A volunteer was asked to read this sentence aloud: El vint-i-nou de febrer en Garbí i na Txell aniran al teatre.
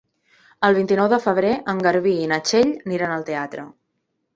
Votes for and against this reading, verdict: 1, 2, rejected